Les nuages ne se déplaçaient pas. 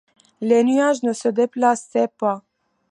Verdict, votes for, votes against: accepted, 2, 1